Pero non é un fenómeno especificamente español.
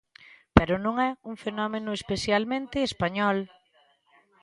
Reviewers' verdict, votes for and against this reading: rejected, 0, 3